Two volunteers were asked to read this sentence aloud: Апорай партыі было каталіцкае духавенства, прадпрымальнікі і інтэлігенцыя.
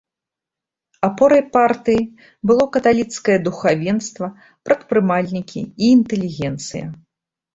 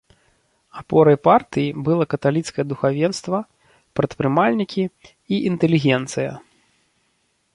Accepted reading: first